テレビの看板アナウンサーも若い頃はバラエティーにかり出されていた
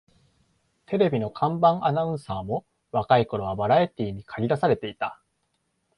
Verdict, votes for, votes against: accepted, 2, 0